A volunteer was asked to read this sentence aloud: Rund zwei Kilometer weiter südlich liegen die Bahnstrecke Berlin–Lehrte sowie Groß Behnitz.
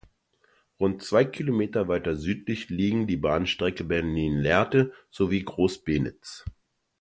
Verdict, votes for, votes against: rejected, 1, 2